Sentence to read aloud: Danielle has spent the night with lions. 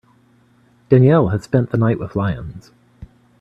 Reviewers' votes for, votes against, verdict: 2, 0, accepted